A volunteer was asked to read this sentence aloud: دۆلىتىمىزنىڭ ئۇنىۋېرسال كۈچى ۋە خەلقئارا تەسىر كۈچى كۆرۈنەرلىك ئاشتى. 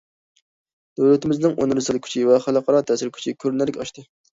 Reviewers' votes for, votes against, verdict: 2, 0, accepted